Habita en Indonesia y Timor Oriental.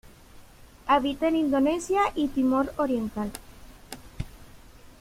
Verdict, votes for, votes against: accepted, 2, 0